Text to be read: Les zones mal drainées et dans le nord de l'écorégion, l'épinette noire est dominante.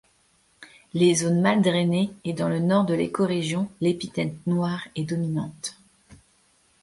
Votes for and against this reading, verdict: 1, 2, rejected